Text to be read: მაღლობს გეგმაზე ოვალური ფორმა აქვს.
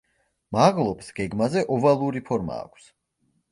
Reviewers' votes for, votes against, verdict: 2, 0, accepted